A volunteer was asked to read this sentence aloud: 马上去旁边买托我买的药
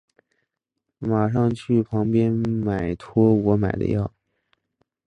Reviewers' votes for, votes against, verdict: 8, 0, accepted